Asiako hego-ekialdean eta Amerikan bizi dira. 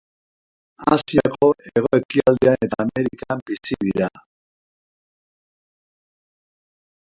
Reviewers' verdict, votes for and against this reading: rejected, 0, 2